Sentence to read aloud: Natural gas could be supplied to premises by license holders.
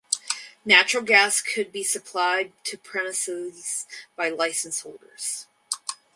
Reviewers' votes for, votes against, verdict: 4, 0, accepted